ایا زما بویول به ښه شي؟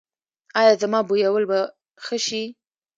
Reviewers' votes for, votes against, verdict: 2, 0, accepted